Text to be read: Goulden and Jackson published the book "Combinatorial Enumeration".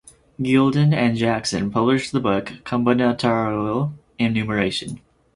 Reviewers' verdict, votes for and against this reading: rejected, 0, 4